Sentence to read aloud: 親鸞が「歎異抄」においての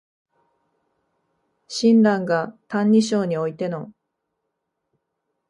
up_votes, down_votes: 2, 0